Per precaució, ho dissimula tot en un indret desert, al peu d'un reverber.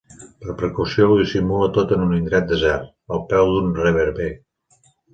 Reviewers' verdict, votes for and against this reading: accepted, 4, 0